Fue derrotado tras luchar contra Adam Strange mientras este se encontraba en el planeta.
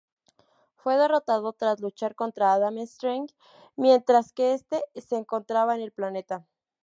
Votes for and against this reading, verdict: 2, 0, accepted